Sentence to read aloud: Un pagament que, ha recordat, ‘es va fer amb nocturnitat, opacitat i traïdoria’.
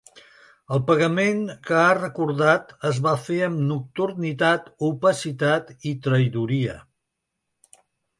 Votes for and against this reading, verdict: 1, 3, rejected